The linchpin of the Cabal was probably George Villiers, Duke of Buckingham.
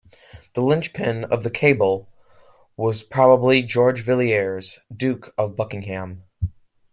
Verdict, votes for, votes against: rejected, 1, 2